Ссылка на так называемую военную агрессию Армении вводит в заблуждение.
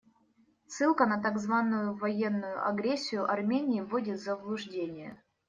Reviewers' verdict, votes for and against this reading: rejected, 0, 2